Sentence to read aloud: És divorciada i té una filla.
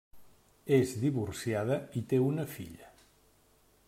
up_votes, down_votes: 3, 0